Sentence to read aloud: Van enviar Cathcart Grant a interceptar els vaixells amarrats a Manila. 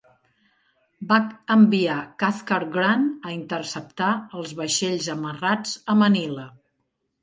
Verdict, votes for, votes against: rejected, 1, 3